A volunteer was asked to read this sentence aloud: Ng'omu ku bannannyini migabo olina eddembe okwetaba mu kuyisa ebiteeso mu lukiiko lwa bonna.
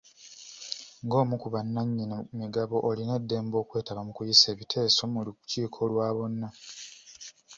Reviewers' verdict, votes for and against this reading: rejected, 1, 2